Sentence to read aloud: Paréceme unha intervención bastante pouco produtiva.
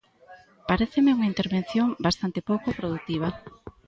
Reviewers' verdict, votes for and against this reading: accepted, 2, 0